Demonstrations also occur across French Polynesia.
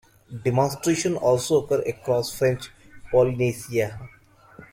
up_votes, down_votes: 1, 3